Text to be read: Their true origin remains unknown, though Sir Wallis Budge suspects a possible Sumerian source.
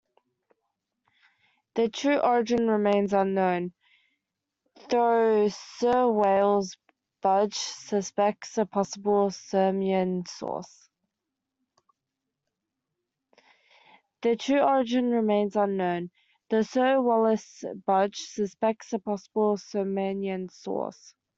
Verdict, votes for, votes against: rejected, 0, 2